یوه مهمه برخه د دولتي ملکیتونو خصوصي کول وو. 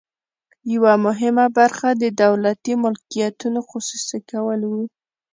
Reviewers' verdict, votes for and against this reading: accepted, 2, 0